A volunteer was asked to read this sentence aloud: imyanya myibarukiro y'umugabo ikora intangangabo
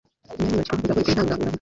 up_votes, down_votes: 1, 2